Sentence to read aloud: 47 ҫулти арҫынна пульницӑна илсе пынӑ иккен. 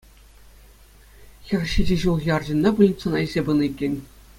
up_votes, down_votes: 0, 2